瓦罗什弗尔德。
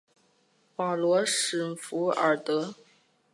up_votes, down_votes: 6, 0